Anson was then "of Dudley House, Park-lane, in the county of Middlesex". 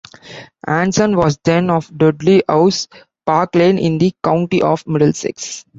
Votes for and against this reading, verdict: 1, 2, rejected